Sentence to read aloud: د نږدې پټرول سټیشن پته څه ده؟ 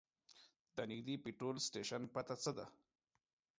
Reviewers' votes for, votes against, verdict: 2, 0, accepted